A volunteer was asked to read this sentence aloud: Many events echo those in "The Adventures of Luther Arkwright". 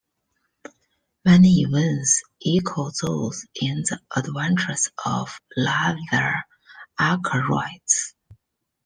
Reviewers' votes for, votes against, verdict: 1, 2, rejected